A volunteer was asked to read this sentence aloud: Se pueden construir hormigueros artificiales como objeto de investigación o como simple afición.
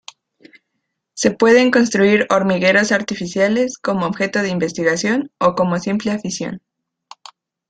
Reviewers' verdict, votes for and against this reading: accepted, 2, 0